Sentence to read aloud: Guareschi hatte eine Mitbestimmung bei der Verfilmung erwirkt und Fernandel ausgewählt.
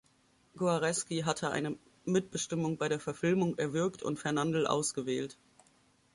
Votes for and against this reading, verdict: 0, 2, rejected